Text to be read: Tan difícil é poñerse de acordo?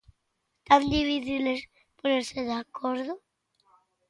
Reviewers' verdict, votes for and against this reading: rejected, 0, 3